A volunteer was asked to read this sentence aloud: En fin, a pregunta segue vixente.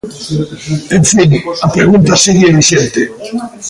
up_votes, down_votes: 0, 2